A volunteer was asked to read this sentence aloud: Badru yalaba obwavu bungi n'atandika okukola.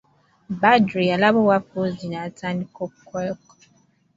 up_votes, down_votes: 2, 1